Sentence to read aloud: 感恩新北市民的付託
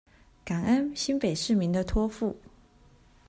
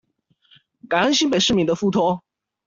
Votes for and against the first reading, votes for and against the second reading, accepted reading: 1, 2, 2, 1, second